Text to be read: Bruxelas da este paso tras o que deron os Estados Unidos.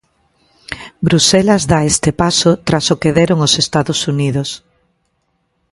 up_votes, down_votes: 2, 0